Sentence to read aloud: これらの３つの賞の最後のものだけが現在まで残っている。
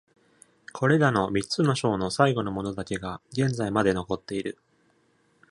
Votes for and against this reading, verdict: 0, 2, rejected